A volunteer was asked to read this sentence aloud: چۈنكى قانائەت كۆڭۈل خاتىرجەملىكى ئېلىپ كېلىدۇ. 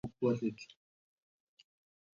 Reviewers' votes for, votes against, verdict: 0, 2, rejected